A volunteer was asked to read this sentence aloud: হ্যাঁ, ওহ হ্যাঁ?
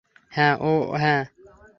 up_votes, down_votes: 0, 3